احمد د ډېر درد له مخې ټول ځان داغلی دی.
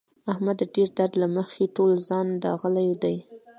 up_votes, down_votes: 2, 1